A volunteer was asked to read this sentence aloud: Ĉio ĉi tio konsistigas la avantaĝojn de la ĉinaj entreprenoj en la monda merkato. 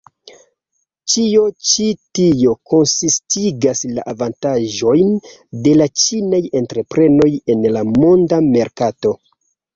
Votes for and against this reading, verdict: 2, 0, accepted